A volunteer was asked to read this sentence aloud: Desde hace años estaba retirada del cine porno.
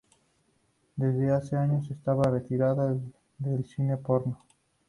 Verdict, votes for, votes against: accepted, 2, 0